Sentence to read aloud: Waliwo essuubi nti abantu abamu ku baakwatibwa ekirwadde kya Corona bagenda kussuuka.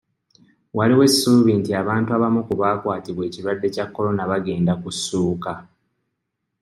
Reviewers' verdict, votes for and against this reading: accepted, 2, 0